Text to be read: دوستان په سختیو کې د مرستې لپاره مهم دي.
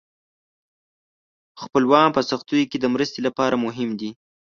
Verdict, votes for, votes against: rejected, 0, 2